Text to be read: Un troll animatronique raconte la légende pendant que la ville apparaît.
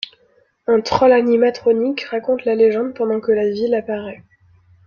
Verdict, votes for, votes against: accepted, 2, 0